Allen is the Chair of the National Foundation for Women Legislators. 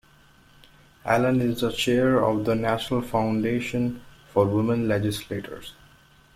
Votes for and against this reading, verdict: 2, 1, accepted